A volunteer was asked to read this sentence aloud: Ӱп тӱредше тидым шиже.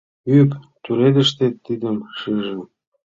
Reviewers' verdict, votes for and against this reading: rejected, 0, 2